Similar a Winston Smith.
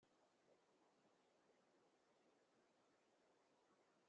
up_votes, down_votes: 1, 2